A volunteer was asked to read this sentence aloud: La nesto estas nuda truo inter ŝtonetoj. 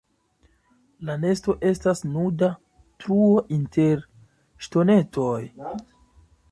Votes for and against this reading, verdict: 2, 0, accepted